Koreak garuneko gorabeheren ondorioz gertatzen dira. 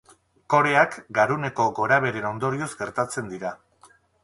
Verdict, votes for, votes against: accepted, 2, 0